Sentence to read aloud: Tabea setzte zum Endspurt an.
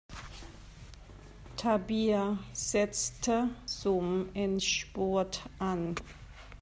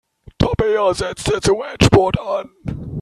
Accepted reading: first